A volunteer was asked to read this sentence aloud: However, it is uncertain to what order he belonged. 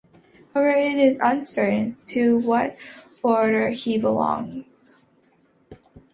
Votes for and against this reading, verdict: 0, 3, rejected